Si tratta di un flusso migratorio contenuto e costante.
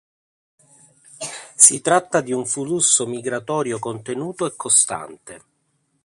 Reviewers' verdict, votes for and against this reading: rejected, 1, 2